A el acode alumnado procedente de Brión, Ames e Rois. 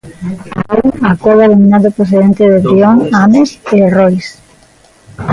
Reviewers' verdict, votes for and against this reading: rejected, 0, 2